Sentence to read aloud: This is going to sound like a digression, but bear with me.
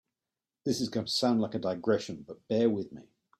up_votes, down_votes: 2, 0